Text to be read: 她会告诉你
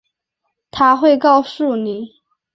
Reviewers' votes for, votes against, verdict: 5, 0, accepted